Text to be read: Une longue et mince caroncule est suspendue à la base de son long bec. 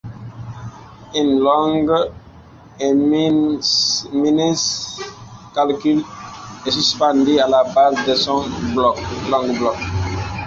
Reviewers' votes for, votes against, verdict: 0, 2, rejected